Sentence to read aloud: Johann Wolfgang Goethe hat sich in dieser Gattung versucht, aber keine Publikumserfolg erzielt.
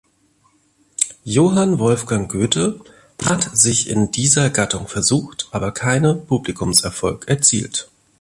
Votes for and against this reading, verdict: 2, 0, accepted